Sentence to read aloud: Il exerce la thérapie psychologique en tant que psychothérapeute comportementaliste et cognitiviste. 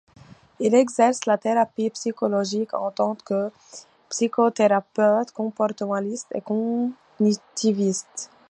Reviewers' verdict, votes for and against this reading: rejected, 1, 2